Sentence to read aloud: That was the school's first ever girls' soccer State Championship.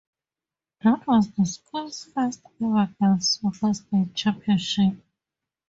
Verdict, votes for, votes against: accepted, 2, 0